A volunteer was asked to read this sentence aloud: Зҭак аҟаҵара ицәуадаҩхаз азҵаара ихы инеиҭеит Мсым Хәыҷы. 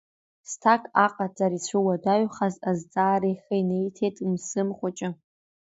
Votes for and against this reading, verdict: 2, 0, accepted